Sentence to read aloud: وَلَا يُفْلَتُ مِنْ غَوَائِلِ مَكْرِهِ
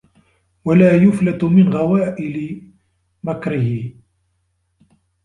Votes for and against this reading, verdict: 2, 1, accepted